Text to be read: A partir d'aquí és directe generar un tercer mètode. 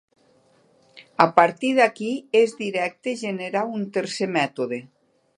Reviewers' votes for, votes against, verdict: 2, 0, accepted